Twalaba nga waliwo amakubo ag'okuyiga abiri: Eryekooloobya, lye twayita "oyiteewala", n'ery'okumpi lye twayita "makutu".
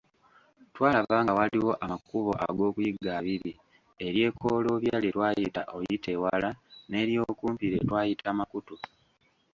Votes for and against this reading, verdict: 1, 2, rejected